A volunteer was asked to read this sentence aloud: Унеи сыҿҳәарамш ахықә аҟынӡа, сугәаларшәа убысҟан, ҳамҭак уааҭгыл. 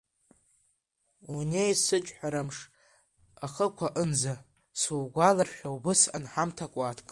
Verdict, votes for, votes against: rejected, 1, 2